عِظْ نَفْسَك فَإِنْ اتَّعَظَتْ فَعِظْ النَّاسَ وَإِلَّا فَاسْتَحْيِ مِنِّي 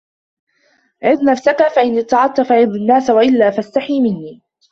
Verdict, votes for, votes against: rejected, 1, 2